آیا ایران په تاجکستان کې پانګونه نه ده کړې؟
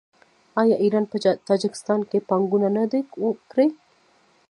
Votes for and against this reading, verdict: 0, 2, rejected